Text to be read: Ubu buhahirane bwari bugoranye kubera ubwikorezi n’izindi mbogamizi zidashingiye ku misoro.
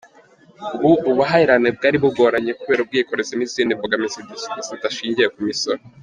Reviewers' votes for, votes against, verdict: 1, 2, rejected